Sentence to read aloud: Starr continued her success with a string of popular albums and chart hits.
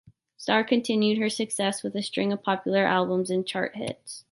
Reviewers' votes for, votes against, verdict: 2, 0, accepted